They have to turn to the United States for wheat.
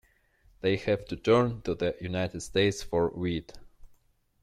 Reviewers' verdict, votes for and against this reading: accepted, 2, 0